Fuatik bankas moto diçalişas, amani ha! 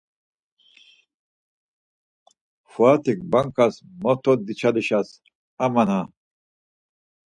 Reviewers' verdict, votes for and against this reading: rejected, 2, 4